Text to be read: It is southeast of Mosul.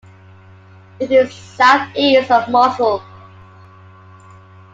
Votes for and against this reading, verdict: 2, 0, accepted